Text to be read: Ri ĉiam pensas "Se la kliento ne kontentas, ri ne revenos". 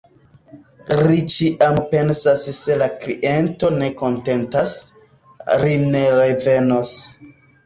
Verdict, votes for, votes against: accepted, 2, 0